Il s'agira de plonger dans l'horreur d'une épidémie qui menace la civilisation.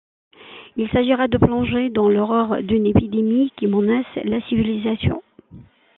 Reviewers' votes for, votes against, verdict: 2, 1, accepted